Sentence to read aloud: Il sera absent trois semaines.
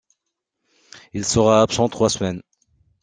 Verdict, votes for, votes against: accepted, 2, 0